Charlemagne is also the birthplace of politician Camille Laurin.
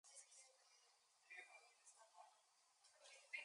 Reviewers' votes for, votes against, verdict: 0, 2, rejected